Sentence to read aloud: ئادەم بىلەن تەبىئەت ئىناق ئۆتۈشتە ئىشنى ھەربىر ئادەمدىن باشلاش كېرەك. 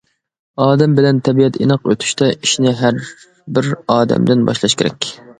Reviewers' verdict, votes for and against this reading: accepted, 2, 0